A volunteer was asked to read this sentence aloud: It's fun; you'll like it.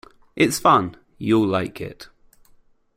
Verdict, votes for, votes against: accepted, 2, 0